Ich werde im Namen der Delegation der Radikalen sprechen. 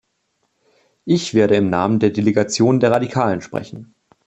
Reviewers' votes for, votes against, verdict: 2, 0, accepted